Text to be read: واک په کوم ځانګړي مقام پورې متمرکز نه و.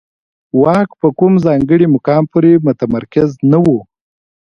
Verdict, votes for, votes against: accepted, 2, 1